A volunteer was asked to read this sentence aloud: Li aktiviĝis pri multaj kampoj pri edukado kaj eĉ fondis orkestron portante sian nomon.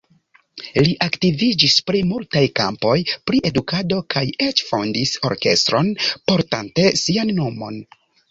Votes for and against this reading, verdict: 3, 0, accepted